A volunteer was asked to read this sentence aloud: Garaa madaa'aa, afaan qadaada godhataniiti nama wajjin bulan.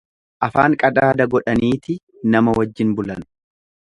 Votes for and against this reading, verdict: 1, 2, rejected